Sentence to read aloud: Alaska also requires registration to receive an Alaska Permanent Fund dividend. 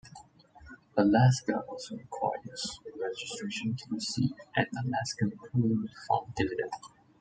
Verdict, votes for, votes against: accepted, 2, 0